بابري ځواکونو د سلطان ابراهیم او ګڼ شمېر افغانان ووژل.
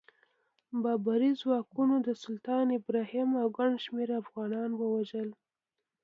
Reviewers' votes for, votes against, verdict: 2, 0, accepted